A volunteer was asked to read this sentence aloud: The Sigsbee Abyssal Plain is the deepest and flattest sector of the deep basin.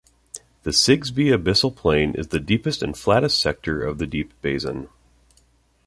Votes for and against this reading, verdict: 2, 0, accepted